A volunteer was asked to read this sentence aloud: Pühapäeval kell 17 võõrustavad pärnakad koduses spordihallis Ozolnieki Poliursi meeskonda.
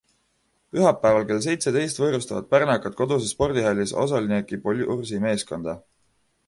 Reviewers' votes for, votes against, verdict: 0, 2, rejected